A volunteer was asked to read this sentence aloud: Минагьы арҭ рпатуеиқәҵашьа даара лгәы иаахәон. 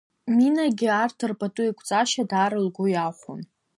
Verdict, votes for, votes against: accepted, 2, 0